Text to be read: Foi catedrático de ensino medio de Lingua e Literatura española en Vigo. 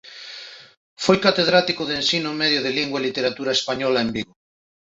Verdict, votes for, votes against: accepted, 2, 0